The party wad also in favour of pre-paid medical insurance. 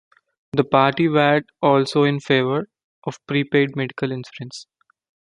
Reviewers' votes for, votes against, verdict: 1, 2, rejected